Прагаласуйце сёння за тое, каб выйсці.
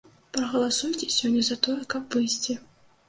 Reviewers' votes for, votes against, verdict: 2, 1, accepted